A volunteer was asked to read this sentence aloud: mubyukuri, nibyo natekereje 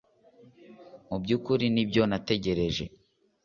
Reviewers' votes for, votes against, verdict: 0, 2, rejected